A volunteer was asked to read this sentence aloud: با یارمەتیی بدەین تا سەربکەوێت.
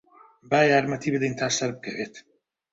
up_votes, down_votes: 2, 0